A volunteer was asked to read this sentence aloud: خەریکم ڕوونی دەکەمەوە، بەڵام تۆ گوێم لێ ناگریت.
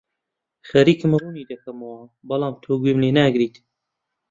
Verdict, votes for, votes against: rejected, 1, 2